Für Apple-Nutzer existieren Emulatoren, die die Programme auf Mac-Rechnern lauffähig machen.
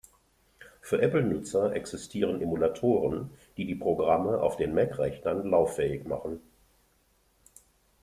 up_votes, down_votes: 0, 2